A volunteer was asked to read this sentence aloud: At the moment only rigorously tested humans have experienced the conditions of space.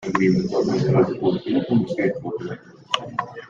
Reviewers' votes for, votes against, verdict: 0, 2, rejected